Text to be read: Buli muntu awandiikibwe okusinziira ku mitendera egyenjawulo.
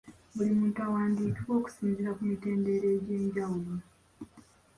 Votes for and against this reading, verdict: 2, 1, accepted